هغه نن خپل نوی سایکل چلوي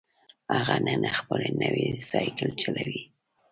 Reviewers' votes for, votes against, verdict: 0, 2, rejected